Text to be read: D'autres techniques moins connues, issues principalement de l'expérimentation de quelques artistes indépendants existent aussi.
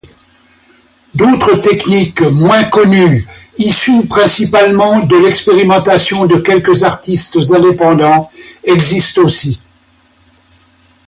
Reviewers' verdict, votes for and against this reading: accepted, 2, 0